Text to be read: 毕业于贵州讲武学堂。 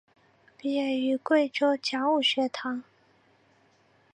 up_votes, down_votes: 7, 0